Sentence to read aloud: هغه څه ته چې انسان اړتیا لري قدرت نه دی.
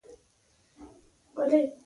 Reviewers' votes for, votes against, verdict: 0, 2, rejected